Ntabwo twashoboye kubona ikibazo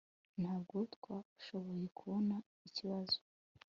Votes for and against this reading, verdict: 2, 1, accepted